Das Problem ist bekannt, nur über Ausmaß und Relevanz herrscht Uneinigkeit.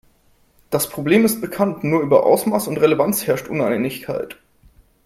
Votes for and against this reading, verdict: 4, 0, accepted